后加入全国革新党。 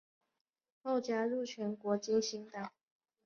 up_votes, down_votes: 5, 1